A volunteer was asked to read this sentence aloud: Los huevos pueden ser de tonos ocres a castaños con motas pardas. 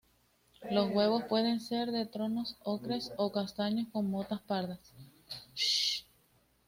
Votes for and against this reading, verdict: 2, 0, accepted